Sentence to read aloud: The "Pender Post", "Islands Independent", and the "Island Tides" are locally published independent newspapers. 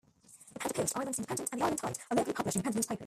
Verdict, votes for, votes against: rejected, 1, 2